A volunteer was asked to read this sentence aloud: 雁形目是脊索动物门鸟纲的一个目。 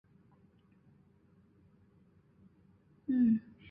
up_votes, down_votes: 0, 3